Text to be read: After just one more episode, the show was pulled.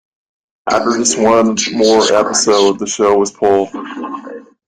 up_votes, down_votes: 0, 2